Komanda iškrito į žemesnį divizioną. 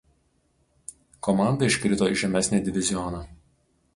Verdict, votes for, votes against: rejected, 2, 2